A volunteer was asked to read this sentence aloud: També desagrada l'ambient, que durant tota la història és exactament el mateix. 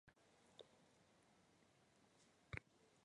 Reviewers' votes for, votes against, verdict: 0, 2, rejected